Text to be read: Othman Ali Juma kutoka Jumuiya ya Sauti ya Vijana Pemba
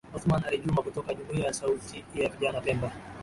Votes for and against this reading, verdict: 2, 0, accepted